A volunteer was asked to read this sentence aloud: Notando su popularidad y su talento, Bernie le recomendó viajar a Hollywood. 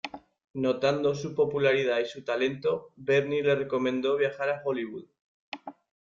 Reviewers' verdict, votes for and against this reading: accepted, 2, 0